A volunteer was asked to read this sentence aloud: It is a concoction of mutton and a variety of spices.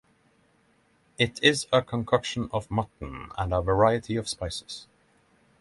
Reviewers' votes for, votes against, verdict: 6, 0, accepted